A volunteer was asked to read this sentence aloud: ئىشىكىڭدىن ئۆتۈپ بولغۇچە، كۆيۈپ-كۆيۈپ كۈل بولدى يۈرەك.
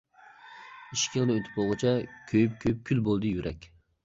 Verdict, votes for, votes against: rejected, 1, 2